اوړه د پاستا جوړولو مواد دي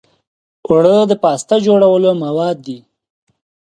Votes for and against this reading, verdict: 2, 0, accepted